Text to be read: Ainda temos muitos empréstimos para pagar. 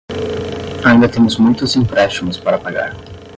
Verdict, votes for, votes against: accepted, 10, 0